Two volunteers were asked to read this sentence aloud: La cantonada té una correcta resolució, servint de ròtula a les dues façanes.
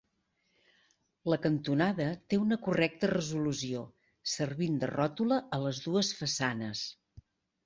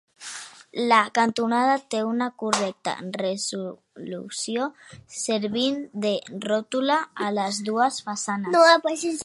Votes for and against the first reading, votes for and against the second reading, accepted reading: 2, 0, 0, 2, first